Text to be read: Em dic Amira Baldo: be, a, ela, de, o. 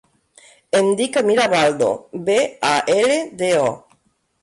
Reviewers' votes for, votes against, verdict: 0, 2, rejected